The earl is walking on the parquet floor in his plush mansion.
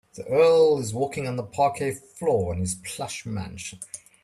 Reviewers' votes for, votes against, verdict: 2, 0, accepted